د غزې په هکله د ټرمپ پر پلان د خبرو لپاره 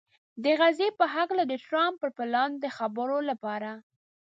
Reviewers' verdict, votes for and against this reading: accepted, 2, 0